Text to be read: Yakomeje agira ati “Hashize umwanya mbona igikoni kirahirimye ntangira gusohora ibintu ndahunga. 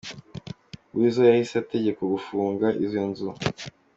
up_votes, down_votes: 0, 2